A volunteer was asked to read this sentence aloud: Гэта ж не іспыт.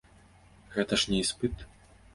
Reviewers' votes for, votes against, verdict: 2, 0, accepted